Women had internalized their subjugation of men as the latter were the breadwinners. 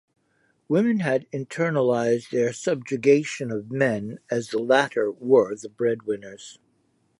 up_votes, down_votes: 2, 0